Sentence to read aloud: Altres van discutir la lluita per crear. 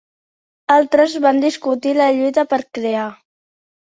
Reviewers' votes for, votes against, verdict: 2, 0, accepted